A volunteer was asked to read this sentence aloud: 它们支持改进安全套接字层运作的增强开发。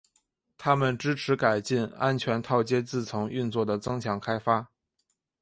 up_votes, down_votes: 2, 0